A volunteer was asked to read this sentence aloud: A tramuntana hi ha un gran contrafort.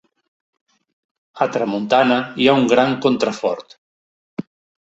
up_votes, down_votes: 2, 0